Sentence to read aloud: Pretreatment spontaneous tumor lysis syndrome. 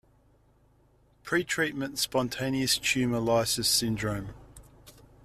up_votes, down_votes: 2, 0